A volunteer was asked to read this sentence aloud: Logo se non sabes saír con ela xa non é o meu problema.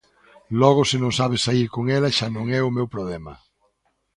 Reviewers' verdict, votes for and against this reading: accepted, 2, 0